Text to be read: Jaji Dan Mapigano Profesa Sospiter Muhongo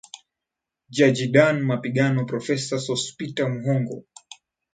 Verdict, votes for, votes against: rejected, 1, 2